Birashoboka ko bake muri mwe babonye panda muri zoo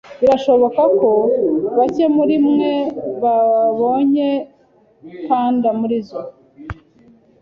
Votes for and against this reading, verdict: 2, 0, accepted